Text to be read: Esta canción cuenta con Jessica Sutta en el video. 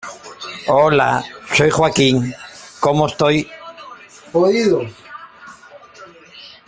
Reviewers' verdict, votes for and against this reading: rejected, 0, 2